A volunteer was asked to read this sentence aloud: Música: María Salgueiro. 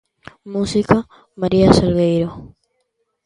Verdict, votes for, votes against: accepted, 2, 0